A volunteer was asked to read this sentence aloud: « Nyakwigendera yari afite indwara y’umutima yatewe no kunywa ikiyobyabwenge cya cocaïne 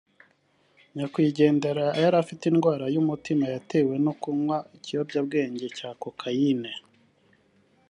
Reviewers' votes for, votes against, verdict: 2, 0, accepted